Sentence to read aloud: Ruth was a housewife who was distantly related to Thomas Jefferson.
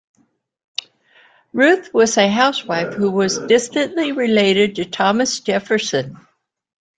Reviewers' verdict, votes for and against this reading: accepted, 2, 0